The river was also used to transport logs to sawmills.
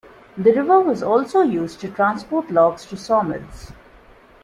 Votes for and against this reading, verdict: 2, 0, accepted